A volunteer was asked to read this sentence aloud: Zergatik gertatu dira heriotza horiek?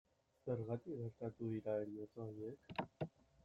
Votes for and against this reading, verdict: 0, 2, rejected